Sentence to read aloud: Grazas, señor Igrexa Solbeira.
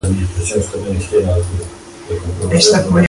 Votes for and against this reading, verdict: 0, 2, rejected